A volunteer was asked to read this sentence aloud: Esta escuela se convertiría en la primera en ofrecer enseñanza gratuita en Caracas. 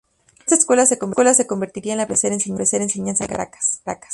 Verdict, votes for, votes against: rejected, 0, 2